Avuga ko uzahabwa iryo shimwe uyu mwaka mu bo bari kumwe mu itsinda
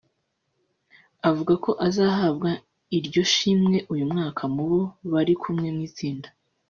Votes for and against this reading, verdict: 0, 2, rejected